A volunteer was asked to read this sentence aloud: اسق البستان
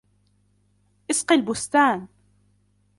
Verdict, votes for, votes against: rejected, 0, 2